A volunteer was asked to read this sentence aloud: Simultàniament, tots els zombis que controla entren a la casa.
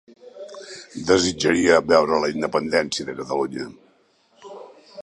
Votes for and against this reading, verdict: 0, 2, rejected